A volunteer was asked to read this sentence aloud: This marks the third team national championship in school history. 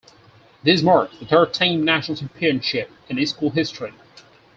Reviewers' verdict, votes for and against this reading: rejected, 2, 6